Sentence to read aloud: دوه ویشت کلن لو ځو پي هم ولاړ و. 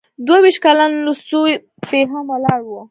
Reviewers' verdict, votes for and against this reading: rejected, 1, 2